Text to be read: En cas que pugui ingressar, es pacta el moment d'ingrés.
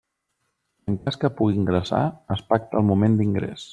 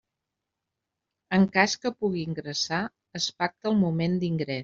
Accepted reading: first